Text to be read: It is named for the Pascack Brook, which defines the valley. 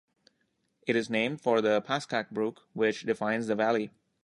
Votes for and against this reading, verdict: 2, 0, accepted